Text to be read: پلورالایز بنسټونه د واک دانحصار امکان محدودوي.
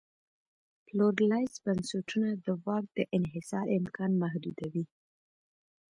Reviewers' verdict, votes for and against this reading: accepted, 2, 0